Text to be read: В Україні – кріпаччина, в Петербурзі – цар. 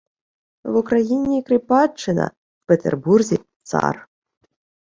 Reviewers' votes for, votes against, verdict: 1, 2, rejected